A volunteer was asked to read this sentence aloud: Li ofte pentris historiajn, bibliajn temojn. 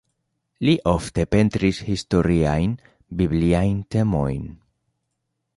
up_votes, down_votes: 2, 0